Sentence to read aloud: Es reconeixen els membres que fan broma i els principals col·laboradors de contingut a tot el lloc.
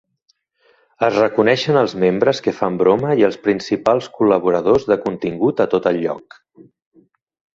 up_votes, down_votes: 3, 0